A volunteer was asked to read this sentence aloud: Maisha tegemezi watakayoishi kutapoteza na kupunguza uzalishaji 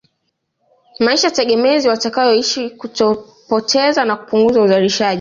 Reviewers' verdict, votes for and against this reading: rejected, 1, 2